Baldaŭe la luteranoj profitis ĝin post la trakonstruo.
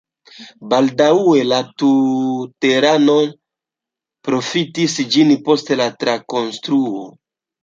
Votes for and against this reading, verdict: 0, 2, rejected